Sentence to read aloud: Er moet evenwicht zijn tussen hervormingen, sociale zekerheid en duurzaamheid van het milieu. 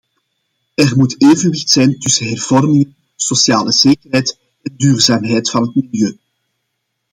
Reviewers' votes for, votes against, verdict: 2, 1, accepted